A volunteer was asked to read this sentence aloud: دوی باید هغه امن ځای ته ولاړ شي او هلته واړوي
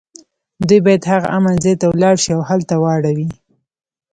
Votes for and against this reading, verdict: 2, 0, accepted